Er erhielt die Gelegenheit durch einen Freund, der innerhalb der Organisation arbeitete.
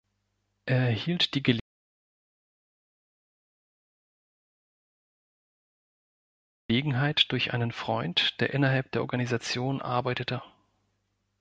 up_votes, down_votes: 1, 2